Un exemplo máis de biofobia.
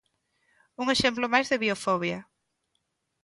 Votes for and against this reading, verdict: 2, 0, accepted